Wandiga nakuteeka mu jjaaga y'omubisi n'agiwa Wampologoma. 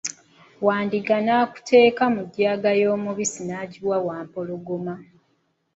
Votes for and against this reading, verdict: 2, 0, accepted